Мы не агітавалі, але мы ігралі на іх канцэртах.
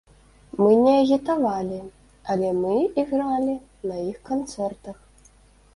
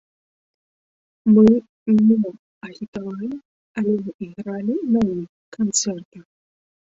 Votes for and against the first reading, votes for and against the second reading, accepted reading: 2, 0, 0, 2, first